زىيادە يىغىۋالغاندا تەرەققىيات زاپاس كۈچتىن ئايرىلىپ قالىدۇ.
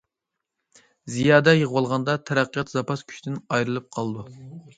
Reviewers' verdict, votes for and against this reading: accepted, 2, 0